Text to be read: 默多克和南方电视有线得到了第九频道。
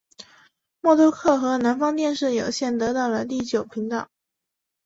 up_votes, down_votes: 2, 0